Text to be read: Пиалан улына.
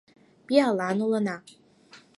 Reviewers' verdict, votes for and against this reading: accepted, 4, 0